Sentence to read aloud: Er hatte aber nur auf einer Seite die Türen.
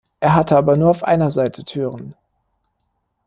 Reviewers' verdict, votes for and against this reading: rejected, 1, 2